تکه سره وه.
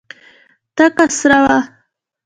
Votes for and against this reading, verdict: 2, 0, accepted